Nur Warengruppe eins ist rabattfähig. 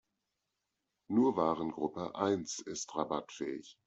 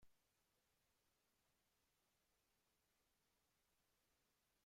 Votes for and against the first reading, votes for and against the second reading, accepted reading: 2, 0, 0, 2, first